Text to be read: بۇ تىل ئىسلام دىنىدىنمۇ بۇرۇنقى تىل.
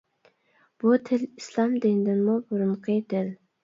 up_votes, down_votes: 2, 1